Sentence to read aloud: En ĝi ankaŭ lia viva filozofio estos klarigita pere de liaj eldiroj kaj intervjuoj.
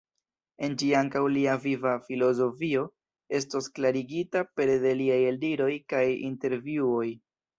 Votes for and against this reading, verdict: 2, 0, accepted